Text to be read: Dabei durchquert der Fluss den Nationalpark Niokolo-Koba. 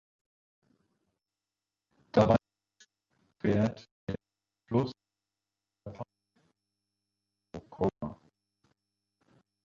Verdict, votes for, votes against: rejected, 0, 2